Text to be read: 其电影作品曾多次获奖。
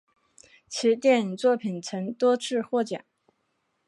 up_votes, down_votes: 3, 0